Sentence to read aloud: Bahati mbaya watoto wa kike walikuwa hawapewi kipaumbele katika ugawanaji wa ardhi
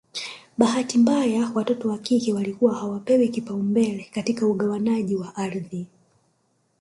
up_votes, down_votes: 2, 0